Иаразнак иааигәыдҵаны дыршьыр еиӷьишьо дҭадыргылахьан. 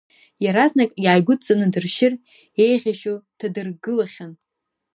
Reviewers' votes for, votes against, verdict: 2, 0, accepted